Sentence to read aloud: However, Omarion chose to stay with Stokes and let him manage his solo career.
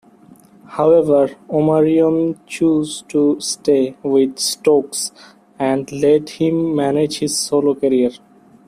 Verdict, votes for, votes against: accepted, 2, 1